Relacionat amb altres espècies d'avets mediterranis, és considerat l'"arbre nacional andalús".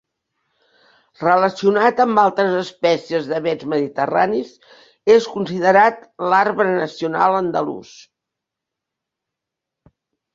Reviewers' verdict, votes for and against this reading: accepted, 2, 0